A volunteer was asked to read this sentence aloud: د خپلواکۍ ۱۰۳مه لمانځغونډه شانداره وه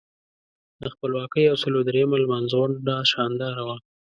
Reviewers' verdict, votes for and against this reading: rejected, 0, 2